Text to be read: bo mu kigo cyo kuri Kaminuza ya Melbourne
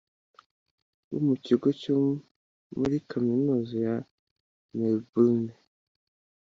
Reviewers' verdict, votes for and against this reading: accepted, 2, 1